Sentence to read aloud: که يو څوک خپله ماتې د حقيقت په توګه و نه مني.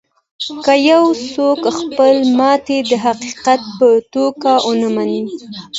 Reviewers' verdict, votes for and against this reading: accepted, 2, 0